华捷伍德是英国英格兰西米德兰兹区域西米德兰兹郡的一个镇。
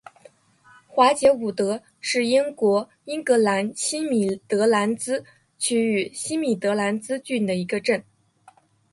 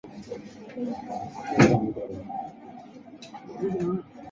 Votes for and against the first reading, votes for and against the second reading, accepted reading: 2, 0, 0, 2, first